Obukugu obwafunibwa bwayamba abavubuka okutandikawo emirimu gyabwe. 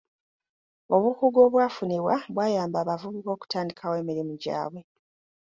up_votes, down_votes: 2, 0